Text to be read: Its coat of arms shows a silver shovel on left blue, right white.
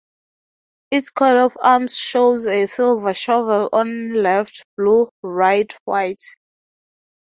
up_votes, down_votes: 0, 2